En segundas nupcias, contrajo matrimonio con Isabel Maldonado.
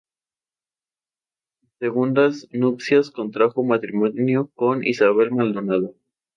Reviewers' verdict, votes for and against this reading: rejected, 0, 2